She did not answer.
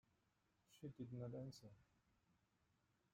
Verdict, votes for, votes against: rejected, 0, 2